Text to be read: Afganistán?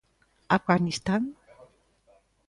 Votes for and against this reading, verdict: 2, 0, accepted